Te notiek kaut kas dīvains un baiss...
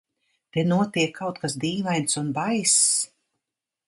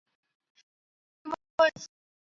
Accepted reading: first